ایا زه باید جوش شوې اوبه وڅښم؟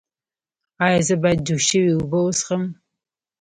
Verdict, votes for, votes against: accepted, 3, 1